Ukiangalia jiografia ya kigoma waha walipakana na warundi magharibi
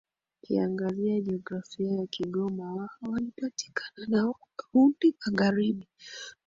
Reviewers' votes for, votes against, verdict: 1, 2, rejected